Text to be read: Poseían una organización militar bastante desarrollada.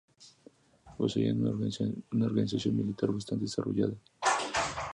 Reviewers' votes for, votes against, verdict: 0, 2, rejected